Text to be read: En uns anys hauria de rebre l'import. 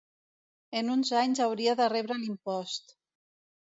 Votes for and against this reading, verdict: 0, 2, rejected